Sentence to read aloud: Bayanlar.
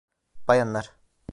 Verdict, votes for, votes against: accepted, 2, 0